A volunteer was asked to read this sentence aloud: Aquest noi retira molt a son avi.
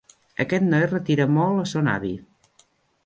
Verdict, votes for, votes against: rejected, 1, 2